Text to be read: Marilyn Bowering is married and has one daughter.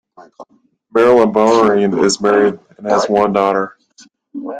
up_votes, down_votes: 0, 2